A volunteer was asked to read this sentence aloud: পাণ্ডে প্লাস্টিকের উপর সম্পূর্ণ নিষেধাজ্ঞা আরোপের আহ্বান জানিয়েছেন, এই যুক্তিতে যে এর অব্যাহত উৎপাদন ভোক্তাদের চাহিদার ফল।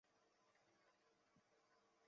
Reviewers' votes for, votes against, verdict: 0, 3, rejected